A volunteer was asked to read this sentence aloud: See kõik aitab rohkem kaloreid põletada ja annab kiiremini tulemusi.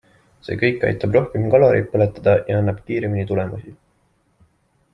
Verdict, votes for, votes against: accepted, 2, 0